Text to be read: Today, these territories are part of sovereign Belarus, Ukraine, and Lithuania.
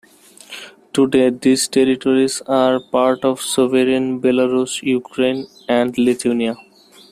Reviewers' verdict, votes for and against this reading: accepted, 2, 1